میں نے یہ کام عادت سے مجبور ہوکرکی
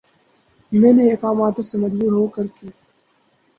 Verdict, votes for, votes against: rejected, 2, 4